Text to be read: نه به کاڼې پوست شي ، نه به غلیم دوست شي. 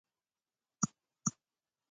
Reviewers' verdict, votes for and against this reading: rejected, 0, 2